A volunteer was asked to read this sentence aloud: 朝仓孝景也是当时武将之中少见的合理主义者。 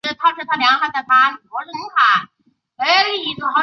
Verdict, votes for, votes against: rejected, 0, 2